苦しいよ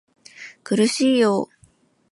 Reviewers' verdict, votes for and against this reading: rejected, 1, 2